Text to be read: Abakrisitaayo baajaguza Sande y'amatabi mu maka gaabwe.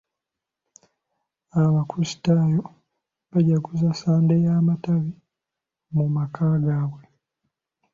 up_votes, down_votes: 2, 0